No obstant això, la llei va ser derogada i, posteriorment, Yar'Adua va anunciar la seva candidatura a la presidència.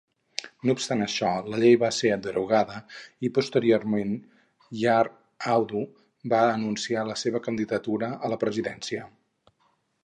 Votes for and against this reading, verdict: 0, 2, rejected